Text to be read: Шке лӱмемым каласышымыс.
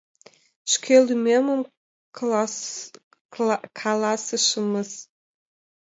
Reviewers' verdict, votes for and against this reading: rejected, 1, 2